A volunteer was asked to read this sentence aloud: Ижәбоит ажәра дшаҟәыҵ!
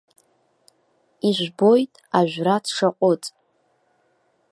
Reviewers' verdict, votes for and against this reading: rejected, 1, 2